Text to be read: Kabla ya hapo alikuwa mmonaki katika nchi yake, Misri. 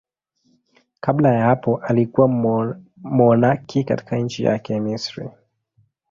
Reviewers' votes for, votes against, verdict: 1, 2, rejected